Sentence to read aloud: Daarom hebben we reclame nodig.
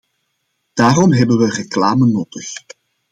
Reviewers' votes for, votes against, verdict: 2, 0, accepted